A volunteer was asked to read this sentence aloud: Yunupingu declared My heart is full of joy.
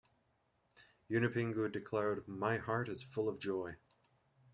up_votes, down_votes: 1, 2